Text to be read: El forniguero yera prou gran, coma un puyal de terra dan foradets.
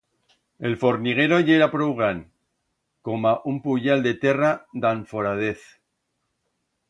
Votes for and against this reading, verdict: 1, 2, rejected